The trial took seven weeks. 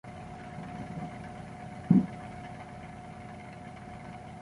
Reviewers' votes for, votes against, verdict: 0, 2, rejected